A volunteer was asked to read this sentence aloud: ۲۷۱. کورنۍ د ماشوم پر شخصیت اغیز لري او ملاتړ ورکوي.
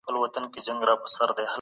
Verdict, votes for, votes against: rejected, 0, 2